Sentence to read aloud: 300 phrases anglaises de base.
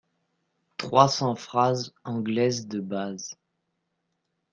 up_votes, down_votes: 0, 2